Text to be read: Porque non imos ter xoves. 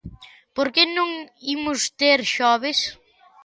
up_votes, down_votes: 2, 0